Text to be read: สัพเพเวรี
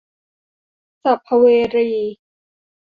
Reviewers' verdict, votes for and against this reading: rejected, 0, 2